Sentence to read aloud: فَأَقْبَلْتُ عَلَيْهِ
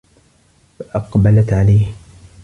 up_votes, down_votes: 1, 3